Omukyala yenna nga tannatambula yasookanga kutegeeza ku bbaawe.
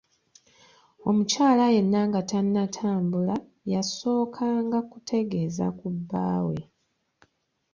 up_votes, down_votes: 2, 0